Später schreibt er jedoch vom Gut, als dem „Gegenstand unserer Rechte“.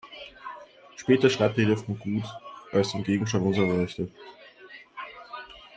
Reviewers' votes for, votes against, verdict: 2, 1, accepted